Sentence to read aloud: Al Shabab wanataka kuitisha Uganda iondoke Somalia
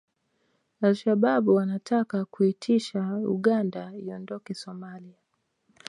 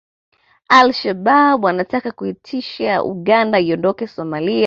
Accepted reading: second